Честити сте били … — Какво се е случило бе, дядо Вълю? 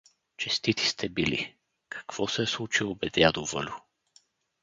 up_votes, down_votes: 0, 2